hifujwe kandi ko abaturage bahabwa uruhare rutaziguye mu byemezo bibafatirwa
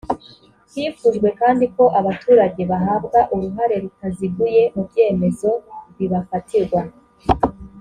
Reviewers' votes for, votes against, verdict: 2, 0, accepted